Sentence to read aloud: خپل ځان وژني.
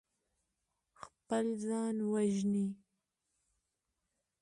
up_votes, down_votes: 2, 0